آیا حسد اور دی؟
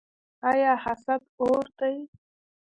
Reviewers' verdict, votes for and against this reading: accepted, 2, 0